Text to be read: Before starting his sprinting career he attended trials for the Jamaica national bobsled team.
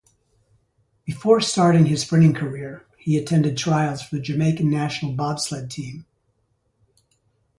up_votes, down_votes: 0, 2